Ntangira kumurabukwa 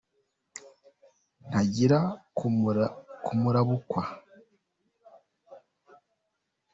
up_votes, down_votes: 0, 2